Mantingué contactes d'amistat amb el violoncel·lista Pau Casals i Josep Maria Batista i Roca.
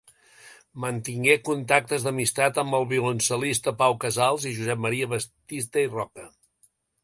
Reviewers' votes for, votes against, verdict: 1, 2, rejected